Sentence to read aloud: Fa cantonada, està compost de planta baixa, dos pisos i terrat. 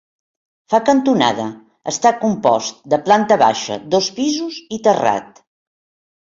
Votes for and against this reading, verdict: 5, 0, accepted